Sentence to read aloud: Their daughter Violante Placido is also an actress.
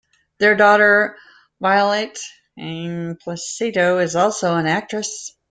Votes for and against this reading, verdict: 0, 2, rejected